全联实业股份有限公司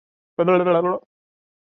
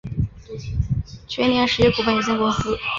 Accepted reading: second